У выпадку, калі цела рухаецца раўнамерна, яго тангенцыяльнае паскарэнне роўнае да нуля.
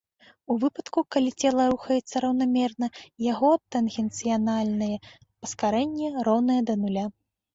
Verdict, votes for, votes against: rejected, 1, 2